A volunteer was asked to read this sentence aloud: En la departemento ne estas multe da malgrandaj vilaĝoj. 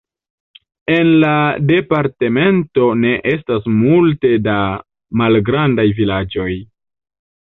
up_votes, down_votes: 1, 2